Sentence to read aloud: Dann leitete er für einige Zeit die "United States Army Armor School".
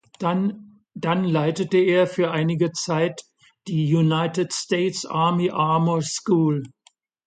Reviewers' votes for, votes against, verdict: 0, 2, rejected